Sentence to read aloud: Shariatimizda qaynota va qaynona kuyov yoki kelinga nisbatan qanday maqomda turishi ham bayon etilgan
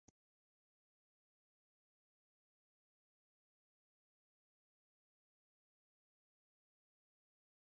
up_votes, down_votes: 0, 2